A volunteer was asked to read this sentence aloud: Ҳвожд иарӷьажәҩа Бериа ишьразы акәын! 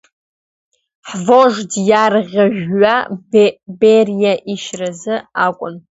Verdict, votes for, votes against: accepted, 2, 0